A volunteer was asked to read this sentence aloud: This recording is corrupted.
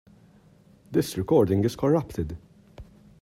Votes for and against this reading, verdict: 2, 0, accepted